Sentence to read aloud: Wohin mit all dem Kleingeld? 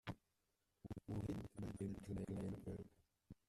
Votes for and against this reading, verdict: 0, 2, rejected